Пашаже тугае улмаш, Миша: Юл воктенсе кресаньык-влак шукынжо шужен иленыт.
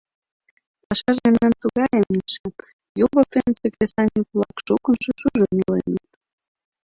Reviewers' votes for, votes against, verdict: 0, 2, rejected